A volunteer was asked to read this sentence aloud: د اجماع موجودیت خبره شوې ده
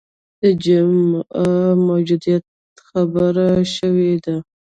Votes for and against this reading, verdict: 0, 2, rejected